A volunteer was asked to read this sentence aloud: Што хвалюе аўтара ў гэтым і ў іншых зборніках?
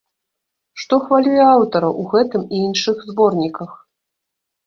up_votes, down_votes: 1, 2